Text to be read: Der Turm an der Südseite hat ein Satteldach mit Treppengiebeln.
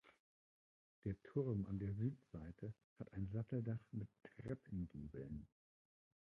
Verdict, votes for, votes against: rejected, 0, 2